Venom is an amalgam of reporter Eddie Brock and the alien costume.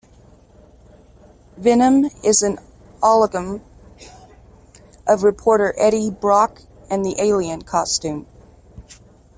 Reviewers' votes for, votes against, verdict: 0, 2, rejected